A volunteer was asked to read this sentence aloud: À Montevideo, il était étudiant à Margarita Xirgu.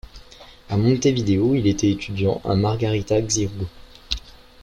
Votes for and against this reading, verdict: 2, 1, accepted